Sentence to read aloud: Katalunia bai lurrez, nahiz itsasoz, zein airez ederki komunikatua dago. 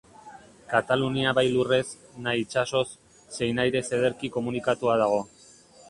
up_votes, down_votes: 0, 2